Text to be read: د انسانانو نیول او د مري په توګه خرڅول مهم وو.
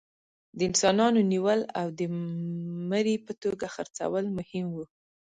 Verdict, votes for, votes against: accepted, 2, 0